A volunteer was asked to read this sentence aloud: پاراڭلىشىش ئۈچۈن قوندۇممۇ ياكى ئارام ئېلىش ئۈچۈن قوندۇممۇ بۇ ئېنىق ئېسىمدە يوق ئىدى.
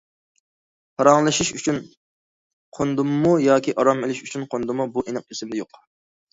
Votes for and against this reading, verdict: 1, 2, rejected